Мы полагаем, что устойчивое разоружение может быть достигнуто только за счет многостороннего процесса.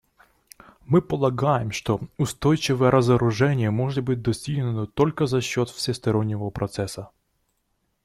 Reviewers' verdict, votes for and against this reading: rejected, 0, 2